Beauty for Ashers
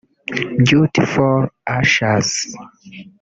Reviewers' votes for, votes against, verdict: 1, 2, rejected